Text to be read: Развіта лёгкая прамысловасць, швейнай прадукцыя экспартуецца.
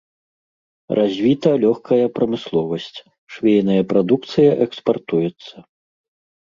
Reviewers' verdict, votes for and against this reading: rejected, 0, 2